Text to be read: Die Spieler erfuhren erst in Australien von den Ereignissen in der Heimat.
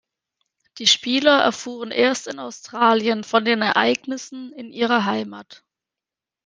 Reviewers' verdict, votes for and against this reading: rejected, 0, 3